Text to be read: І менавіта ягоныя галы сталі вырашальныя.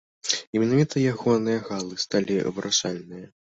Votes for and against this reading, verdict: 0, 2, rejected